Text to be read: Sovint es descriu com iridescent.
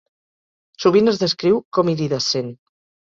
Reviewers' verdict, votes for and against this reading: accepted, 2, 0